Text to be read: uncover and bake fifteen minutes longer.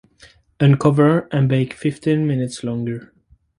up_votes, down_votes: 4, 0